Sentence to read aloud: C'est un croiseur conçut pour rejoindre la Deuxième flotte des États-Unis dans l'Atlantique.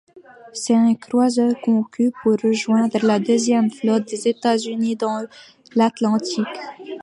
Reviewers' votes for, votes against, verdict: 0, 2, rejected